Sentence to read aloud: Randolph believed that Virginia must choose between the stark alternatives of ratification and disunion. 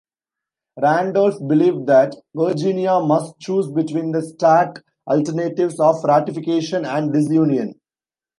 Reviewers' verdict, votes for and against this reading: accepted, 2, 0